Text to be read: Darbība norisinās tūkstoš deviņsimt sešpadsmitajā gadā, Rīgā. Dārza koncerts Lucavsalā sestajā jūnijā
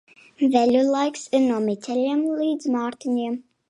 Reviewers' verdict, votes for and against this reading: rejected, 0, 2